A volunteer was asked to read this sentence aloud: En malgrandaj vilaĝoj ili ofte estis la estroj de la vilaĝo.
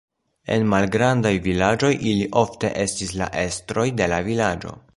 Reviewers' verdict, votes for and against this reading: rejected, 1, 2